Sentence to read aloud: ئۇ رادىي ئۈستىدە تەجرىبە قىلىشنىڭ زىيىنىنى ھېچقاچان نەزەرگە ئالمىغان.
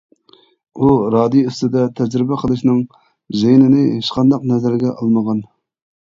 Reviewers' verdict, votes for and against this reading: rejected, 0, 2